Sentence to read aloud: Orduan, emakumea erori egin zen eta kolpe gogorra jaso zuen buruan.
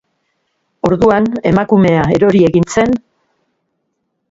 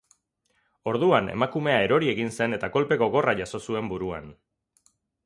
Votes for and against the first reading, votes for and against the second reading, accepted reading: 0, 2, 6, 0, second